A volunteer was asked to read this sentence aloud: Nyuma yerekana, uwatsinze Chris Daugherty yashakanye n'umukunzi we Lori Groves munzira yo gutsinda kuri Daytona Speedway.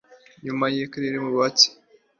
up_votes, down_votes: 0, 2